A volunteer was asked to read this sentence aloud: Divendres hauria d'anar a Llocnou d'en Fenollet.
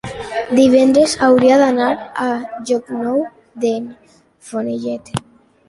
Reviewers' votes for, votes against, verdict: 2, 1, accepted